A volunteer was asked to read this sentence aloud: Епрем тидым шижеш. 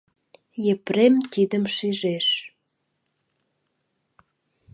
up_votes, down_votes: 2, 0